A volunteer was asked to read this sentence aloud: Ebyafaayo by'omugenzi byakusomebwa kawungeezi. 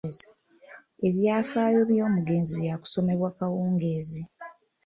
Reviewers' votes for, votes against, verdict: 2, 0, accepted